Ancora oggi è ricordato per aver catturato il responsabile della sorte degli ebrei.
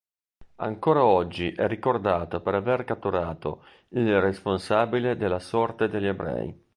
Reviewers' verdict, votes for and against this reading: rejected, 1, 2